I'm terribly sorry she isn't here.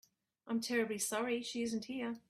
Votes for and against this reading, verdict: 2, 0, accepted